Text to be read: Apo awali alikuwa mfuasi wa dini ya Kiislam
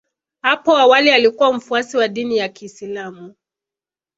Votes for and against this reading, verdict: 2, 0, accepted